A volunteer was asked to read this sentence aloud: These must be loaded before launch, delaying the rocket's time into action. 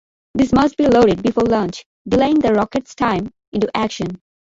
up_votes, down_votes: 2, 0